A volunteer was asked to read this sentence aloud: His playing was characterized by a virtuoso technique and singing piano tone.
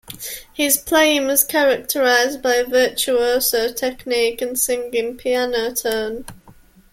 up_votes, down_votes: 2, 0